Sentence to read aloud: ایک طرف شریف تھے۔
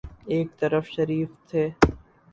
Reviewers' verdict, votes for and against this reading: accepted, 4, 0